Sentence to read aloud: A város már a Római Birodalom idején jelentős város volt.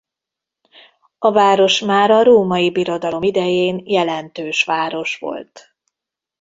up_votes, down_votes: 0, 2